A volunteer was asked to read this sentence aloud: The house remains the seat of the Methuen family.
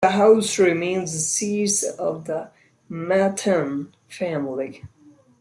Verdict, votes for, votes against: accepted, 2, 1